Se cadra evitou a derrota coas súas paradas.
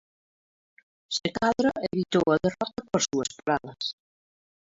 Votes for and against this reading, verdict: 0, 2, rejected